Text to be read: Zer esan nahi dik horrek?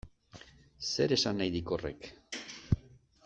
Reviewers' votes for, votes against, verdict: 2, 0, accepted